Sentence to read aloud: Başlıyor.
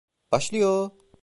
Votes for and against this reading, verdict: 1, 2, rejected